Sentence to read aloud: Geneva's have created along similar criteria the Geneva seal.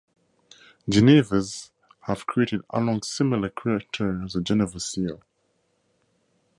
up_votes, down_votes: 2, 0